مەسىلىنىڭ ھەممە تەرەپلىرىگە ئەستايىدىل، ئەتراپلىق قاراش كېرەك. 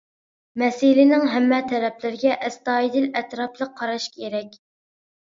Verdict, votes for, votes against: accepted, 2, 0